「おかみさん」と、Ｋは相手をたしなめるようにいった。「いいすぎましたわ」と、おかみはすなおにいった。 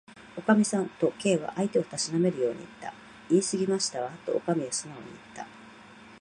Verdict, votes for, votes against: rejected, 2, 2